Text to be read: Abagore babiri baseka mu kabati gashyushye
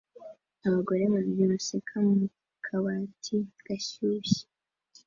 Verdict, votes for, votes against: accepted, 3, 0